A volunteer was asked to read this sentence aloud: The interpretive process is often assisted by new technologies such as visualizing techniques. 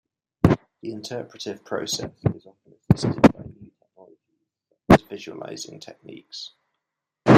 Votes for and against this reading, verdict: 1, 2, rejected